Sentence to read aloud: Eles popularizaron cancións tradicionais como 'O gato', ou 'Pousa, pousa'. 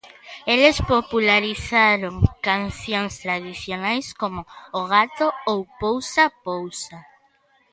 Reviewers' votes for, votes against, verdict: 2, 0, accepted